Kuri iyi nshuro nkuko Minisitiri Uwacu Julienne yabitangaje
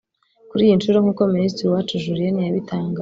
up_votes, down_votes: 0, 2